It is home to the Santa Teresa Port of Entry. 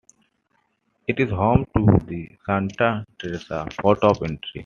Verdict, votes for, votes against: accepted, 3, 2